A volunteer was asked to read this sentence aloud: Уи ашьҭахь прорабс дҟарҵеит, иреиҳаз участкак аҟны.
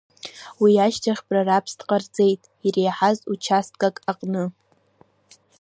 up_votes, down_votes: 2, 1